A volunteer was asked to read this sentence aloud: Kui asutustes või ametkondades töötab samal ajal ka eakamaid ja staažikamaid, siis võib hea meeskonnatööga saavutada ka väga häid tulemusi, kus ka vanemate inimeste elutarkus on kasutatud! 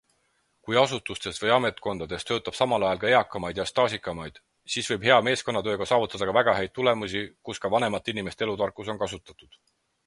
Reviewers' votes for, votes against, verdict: 4, 0, accepted